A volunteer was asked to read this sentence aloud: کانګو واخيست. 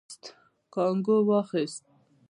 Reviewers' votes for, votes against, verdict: 1, 2, rejected